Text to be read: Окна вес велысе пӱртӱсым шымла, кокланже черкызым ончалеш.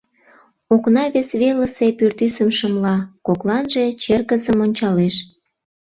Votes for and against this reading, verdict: 0, 2, rejected